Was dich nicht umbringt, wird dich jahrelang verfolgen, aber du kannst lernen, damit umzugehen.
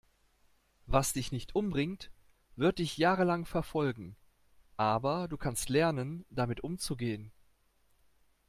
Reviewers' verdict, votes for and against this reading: accepted, 2, 0